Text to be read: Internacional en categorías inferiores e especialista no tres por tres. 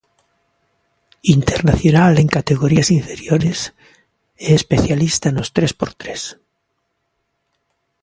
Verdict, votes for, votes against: accepted, 2, 1